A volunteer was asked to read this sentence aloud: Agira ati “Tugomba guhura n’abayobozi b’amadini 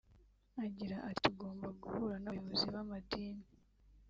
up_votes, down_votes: 1, 2